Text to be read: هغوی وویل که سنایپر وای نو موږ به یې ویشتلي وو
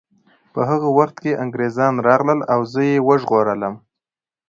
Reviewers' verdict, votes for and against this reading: rejected, 0, 2